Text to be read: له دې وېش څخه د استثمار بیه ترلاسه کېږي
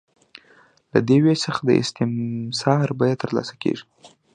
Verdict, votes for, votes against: accepted, 2, 0